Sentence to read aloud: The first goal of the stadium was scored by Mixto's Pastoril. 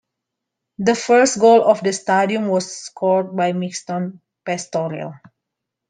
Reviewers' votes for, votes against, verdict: 2, 1, accepted